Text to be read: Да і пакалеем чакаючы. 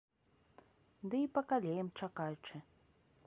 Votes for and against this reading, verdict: 0, 2, rejected